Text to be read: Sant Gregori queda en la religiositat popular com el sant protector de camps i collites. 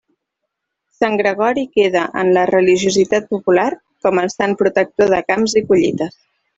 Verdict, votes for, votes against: accepted, 2, 0